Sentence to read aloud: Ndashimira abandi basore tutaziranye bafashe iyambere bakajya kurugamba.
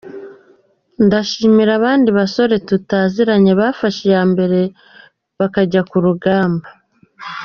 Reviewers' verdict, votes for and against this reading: accepted, 2, 0